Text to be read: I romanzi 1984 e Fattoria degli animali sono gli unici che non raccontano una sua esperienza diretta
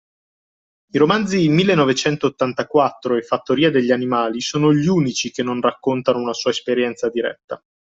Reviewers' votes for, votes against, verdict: 0, 2, rejected